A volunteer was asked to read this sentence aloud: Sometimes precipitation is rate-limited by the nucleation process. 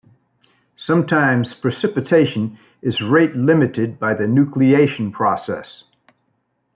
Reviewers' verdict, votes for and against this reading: accepted, 3, 0